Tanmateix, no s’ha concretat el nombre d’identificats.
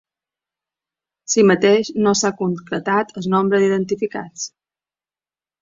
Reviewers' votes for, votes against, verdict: 0, 2, rejected